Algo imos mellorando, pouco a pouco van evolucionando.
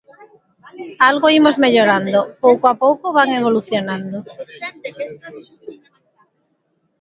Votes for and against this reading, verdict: 0, 2, rejected